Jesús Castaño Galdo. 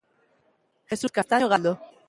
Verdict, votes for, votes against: rejected, 0, 2